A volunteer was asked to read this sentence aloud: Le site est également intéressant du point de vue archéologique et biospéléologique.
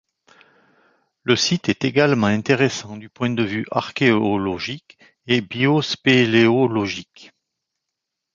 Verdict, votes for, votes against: rejected, 1, 2